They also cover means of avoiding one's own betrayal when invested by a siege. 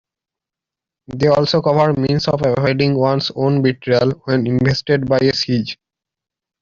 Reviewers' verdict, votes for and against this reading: rejected, 1, 2